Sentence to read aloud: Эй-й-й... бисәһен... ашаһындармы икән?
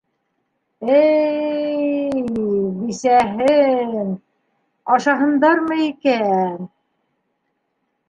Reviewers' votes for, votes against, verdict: 0, 2, rejected